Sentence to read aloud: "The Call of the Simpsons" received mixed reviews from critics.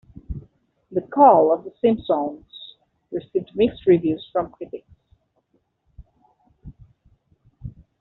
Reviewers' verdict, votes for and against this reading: accepted, 2, 1